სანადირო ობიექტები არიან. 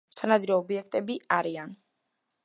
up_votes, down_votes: 2, 0